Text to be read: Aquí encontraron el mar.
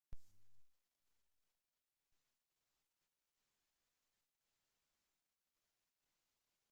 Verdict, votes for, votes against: rejected, 0, 2